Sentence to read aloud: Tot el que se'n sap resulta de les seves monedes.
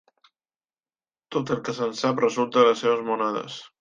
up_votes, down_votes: 2, 0